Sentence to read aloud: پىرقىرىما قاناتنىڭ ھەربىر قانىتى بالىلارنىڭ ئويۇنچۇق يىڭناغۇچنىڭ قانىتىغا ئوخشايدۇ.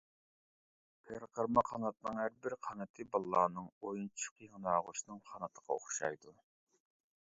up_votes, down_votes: 0, 2